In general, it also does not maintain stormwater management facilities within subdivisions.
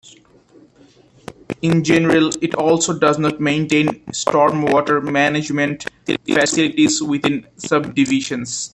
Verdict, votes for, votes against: rejected, 0, 2